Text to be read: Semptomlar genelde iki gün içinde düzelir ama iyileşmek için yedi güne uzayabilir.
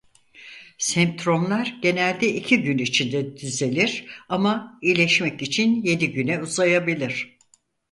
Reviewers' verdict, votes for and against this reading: rejected, 0, 4